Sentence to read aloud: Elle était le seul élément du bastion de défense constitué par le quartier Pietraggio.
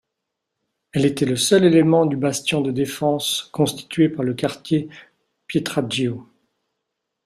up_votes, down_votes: 2, 0